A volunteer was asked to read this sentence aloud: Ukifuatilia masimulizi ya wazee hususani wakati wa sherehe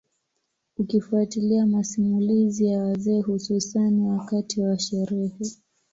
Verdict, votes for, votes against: accepted, 2, 0